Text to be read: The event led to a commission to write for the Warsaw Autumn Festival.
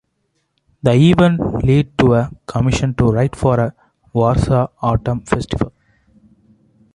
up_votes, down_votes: 1, 2